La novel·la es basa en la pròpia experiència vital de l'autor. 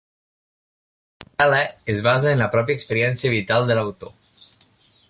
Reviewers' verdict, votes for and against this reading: rejected, 0, 2